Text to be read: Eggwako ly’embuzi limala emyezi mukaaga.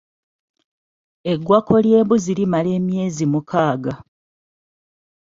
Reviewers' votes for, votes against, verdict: 2, 0, accepted